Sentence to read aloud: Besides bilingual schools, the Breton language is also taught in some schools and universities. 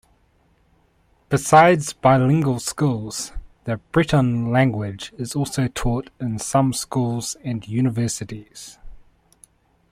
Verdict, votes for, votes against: accepted, 2, 0